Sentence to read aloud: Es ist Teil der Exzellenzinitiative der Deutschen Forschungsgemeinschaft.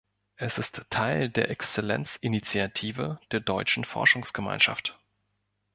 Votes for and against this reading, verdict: 2, 0, accepted